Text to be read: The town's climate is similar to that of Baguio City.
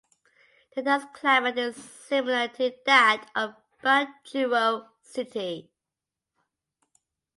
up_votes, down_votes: 1, 2